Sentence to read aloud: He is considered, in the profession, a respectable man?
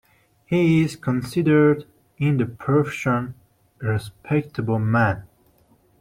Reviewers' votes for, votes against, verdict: 0, 2, rejected